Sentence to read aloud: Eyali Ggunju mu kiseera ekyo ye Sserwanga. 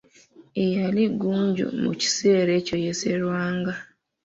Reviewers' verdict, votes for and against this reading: accepted, 2, 0